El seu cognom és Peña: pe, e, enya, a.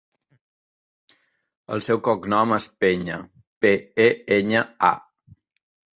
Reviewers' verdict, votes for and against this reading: accepted, 3, 0